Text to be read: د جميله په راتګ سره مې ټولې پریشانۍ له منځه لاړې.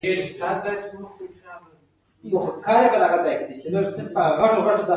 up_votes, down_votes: 1, 2